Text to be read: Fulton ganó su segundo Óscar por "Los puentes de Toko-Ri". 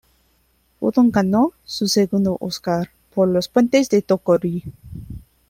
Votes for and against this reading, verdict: 2, 0, accepted